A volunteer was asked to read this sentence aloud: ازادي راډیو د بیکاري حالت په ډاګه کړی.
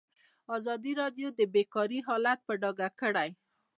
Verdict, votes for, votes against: accepted, 2, 0